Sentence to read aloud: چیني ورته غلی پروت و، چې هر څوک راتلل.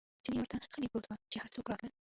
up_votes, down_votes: 1, 2